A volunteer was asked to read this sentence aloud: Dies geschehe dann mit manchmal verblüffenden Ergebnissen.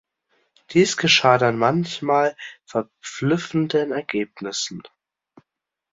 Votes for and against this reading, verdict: 0, 2, rejected